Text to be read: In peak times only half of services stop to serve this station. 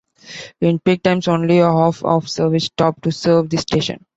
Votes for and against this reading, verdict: 0, 2, rejected